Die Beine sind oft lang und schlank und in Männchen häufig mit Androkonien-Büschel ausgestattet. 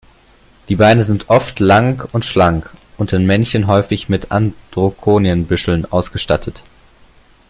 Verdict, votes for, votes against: rejected, 1, 2